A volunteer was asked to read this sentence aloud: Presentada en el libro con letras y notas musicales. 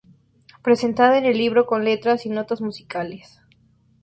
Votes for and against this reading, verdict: 2, 0, accepted